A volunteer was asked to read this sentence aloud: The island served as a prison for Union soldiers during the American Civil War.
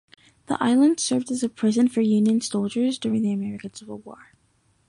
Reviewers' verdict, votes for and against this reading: accepted, 2, 0